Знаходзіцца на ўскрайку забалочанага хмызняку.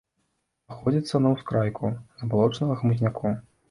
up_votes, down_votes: 2, 0